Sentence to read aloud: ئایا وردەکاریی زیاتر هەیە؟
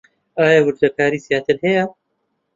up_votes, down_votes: 2, 0